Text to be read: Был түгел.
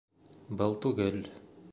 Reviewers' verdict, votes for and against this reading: accepted, 2, 0